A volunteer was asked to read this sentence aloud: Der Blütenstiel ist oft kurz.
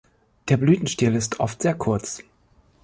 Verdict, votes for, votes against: rejected, 1, 3